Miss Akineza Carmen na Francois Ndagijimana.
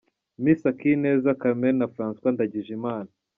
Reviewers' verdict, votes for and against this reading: accepted, 3, 0